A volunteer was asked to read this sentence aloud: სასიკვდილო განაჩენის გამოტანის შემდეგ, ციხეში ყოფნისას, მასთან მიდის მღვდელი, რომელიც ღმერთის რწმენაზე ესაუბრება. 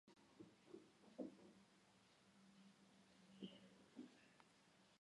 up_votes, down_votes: 2, 1